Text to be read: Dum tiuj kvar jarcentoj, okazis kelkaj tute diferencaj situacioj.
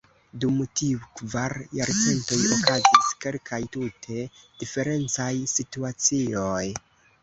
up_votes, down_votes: 2, 1